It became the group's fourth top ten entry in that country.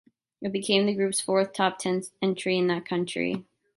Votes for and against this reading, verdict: 2, 1, accepted